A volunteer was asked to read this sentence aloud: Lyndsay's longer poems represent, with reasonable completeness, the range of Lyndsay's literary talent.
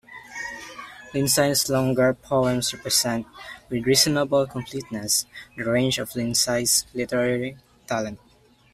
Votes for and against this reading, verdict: 0, 2, rejected